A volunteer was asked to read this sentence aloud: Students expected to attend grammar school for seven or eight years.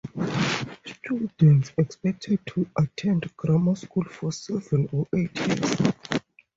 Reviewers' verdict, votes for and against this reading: rejected, 0, 2